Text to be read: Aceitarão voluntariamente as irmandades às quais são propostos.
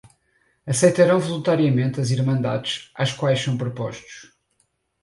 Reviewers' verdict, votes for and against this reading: rejected, 2, 4